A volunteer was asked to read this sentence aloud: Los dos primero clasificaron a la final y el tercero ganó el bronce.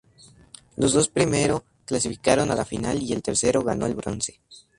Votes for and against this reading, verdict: 2, 0, accepted